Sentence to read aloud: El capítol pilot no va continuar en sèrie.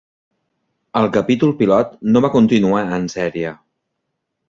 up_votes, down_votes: 3, 1